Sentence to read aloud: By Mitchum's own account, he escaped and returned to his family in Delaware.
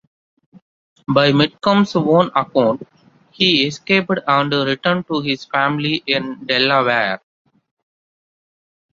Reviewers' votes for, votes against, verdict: 2, 1, accepted